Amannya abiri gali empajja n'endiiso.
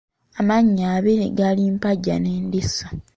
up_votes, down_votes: 1, 2